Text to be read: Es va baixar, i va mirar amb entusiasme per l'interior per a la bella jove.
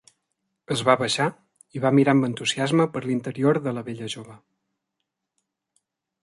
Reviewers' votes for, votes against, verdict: 0, 2, rejected